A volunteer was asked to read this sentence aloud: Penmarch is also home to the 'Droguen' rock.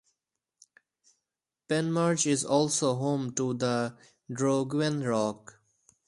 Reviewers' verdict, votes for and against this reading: rejected, 0, 2